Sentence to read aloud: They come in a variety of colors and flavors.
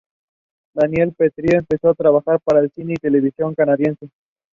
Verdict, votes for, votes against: rejected, 0, 2